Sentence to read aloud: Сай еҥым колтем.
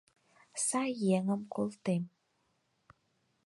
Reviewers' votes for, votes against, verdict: 4, 0, accepted